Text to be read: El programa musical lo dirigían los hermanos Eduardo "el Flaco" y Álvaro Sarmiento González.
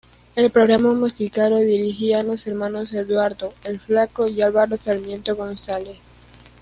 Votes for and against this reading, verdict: 1, 2, rejected